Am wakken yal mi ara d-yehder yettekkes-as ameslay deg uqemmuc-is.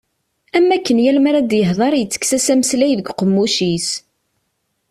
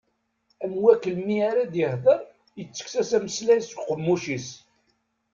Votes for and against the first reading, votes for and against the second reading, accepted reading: 2, 0, 1, 2, first